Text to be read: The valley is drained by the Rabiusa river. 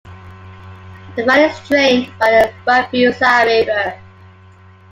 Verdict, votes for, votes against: accepted, 2, 0